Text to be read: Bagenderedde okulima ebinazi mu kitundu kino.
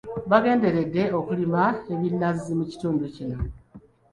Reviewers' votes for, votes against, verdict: 2, 1, accepted